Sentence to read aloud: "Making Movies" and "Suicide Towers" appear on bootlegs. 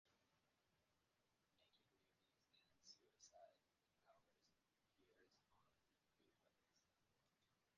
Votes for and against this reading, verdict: 0, 2, rejected